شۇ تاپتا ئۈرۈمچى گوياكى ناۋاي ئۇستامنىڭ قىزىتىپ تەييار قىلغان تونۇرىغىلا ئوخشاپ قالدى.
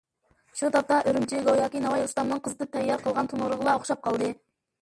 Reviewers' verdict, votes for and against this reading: rejected, 0, 2